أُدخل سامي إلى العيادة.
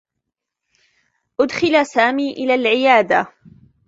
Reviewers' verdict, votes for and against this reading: accepted, 2, 0